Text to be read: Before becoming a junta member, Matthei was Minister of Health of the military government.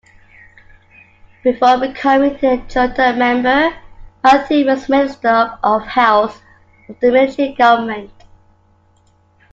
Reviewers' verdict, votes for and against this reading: accepted, 2, 0